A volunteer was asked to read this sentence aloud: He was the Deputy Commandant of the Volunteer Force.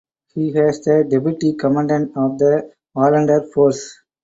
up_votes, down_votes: 0, 4